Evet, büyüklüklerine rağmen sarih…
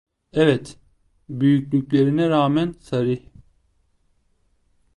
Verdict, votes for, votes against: accepted, 2, 0